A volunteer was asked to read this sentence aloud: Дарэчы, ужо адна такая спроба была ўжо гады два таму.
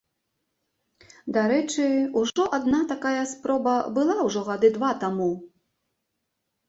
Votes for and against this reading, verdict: 0, 2, rejected